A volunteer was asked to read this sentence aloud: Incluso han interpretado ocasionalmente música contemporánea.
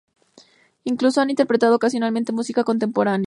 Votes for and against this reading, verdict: 2, 0, accepted